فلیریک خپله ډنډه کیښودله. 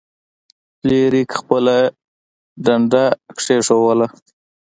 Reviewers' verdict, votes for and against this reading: accepted, 2, 1